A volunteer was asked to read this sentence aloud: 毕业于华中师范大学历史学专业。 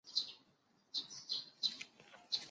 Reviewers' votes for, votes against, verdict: 0, 2, rejected